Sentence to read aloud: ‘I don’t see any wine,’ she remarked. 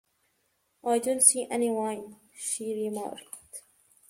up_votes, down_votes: 2, 0